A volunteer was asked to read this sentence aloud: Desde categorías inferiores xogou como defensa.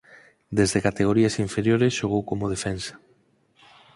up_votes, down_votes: 4, 0